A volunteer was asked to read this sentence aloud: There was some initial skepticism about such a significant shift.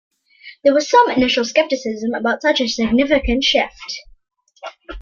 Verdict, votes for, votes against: accepted, 2, 0